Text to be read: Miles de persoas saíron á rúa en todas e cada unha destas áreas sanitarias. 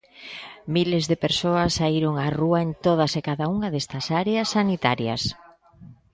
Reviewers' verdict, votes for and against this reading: rejected, 1, 2